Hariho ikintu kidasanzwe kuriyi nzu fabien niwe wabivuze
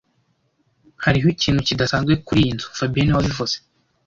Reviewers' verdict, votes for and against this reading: accepted, 2, 0